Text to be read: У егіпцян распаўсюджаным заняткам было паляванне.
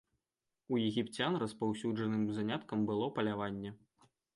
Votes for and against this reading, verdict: 2, 0, accepted